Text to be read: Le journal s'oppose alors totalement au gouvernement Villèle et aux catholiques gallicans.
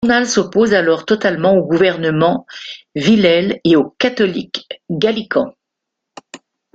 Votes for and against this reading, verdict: 2, 1, accepted